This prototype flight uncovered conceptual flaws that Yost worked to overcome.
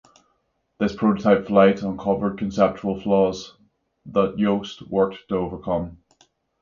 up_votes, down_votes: 6, 0